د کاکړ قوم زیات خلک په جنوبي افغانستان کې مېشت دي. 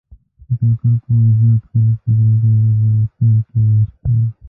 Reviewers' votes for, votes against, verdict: 1, 2, rejected